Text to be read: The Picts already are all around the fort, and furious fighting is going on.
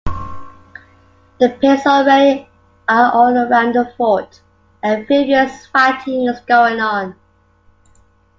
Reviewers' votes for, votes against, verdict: 2, 1, accepted